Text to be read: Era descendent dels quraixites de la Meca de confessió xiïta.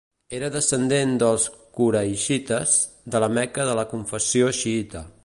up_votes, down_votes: 2, 1